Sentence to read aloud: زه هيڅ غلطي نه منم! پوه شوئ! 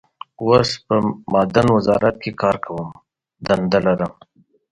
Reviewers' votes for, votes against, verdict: 1, 2, rejected